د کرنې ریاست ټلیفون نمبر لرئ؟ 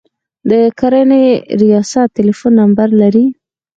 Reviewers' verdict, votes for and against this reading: accepted, 4, 0